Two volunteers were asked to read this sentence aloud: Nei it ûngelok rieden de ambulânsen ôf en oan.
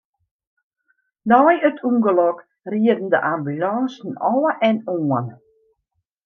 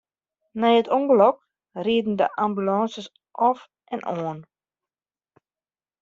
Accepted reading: first